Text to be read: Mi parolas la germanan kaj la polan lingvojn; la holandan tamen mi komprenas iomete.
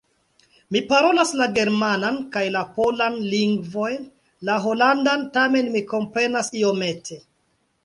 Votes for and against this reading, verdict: 1, 2, rejected